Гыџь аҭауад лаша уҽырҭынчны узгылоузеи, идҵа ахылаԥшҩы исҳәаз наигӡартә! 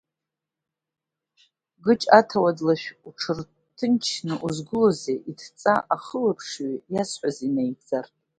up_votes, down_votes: 1, 2